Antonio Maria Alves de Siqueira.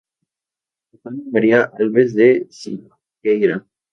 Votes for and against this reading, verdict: 0, 2, rejected